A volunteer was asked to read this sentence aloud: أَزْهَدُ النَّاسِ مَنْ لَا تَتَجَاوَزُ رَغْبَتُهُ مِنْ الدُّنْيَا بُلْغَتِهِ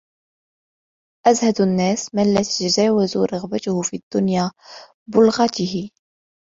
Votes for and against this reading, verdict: 2, 1, accepted